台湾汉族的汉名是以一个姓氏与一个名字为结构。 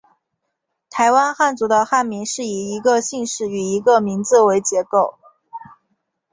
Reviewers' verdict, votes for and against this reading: accepted, 4, 0